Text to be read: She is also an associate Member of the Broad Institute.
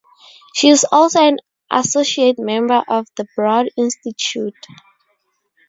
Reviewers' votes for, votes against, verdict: 2, 0, accepted